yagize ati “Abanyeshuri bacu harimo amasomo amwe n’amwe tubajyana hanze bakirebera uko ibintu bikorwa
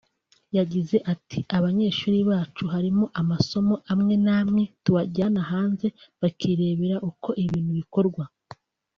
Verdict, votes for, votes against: accepted, 2, 0